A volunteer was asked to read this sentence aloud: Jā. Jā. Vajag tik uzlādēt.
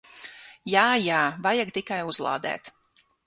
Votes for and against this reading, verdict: 3, 6, rejected